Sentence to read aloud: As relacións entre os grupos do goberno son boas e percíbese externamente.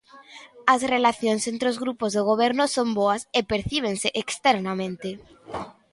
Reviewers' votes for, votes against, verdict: 0, 2, rejected